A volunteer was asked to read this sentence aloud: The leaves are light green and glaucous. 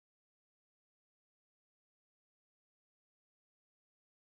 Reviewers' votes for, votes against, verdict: 0, 3, rejected